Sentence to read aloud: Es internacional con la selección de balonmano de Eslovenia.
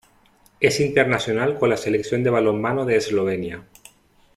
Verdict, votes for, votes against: accepted, 2, 1